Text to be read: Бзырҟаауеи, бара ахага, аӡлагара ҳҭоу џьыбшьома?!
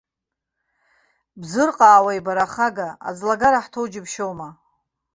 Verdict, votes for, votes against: accepted, 2, 0